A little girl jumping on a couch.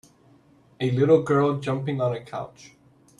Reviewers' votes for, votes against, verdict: 2, 0, accepted